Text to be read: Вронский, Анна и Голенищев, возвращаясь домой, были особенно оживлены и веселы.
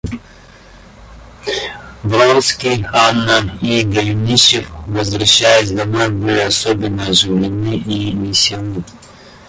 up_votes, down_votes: 1, 2